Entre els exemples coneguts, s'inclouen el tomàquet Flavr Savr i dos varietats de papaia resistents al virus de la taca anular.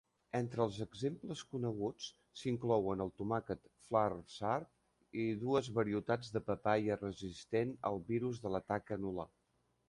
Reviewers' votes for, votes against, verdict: 1, 2, rejected